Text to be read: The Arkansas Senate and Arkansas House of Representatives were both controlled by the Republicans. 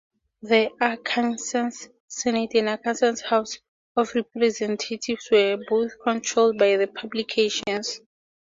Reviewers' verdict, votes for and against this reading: accepted, 2, 0